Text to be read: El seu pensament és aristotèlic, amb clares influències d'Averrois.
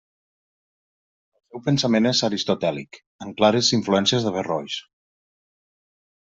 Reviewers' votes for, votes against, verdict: 1, 2, rejected